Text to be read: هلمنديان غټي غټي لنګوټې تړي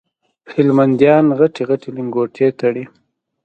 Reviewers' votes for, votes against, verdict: 2, 0, accepted